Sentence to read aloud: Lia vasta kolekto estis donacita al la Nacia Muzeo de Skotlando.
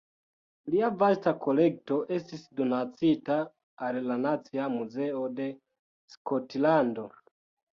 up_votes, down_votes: 2, 3